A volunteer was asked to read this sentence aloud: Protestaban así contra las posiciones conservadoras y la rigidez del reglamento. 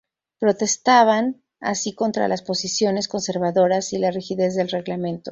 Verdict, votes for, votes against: rejected, 0, 2